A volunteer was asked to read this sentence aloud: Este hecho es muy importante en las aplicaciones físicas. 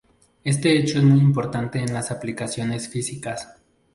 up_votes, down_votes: 2, 0